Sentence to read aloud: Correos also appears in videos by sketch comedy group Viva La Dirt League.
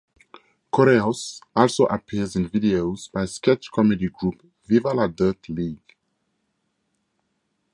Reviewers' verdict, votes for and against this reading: accepted, 4, 0